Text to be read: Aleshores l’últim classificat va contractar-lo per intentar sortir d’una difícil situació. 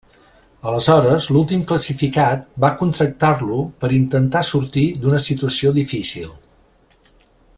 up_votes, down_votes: 1, 2